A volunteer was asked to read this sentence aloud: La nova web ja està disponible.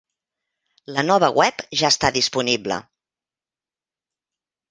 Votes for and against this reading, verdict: 3, 0, accepted